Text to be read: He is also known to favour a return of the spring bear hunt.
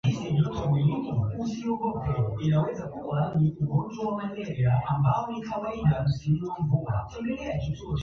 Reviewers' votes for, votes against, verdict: 0, 2, rejected